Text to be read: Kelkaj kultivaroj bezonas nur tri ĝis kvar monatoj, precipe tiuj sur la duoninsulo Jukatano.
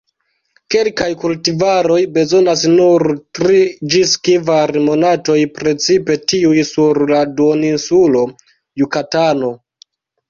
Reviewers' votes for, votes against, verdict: 0, 2, rejected